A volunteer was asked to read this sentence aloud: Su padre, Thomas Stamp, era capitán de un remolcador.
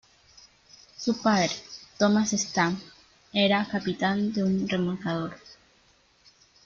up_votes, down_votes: 2, 0